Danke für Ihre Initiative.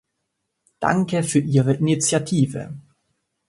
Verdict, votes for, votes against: accepted, 2, 0